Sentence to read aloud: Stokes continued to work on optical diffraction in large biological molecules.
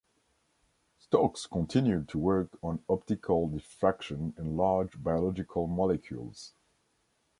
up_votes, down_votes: 3, 0